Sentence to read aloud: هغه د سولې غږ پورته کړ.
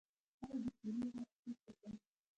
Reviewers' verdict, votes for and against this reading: rejected, 1, 2